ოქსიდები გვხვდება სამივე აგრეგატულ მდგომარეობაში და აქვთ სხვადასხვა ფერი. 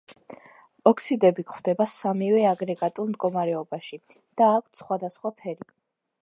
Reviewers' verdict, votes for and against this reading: accepted, 2, 0